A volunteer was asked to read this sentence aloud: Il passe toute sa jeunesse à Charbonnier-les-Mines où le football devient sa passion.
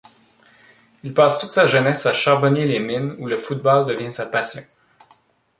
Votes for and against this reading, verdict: 1, 2, rejected